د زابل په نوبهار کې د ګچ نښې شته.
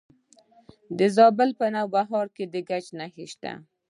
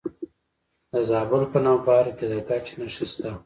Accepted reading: first